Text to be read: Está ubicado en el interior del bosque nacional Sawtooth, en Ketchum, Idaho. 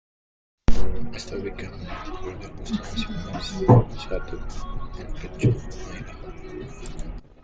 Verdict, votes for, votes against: rejected, 0, 2